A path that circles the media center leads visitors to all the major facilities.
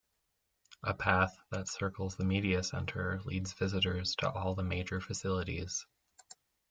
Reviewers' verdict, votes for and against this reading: accepted, 2, 0